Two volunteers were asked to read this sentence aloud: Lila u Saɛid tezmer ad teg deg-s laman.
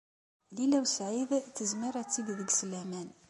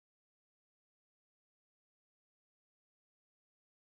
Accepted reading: first